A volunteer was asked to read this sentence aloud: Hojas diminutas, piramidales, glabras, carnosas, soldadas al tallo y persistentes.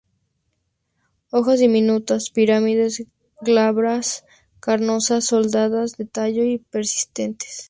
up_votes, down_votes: 2, 0